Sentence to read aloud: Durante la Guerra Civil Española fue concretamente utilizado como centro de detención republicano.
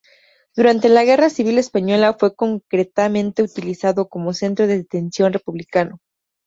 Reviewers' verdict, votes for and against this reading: accepted, 2, 0